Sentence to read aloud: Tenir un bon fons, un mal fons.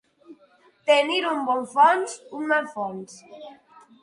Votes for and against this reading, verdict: 3, 6, rejected